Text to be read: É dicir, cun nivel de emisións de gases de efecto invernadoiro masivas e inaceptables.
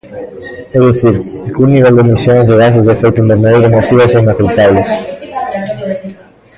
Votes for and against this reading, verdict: 2, 0, accepted